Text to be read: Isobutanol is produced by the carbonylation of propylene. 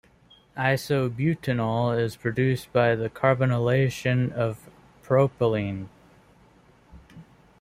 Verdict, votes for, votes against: rejected, 0, 2